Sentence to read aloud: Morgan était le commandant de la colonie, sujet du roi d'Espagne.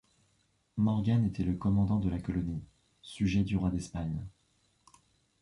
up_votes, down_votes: 2, 0